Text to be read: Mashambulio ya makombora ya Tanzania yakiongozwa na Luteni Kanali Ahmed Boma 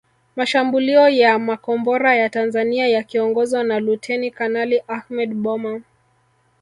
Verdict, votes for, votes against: accepted, 2, 0